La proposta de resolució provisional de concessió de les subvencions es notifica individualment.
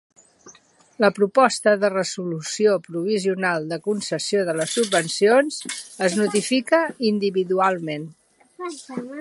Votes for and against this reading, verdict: 2, 1, accepted